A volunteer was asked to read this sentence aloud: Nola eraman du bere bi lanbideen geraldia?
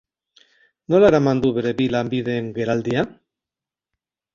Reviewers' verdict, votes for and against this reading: rejected, 0, 2